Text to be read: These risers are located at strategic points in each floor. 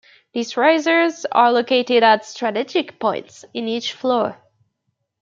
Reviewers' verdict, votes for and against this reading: rejected, 1, 2